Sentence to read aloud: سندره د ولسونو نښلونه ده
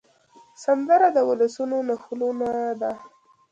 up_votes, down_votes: 1, 2